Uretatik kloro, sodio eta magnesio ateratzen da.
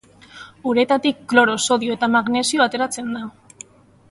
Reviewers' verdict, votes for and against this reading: accepted, 4, 0